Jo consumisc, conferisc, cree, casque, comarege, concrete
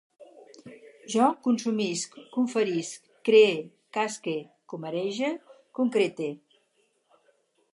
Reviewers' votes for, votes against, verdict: 4, 0, accepted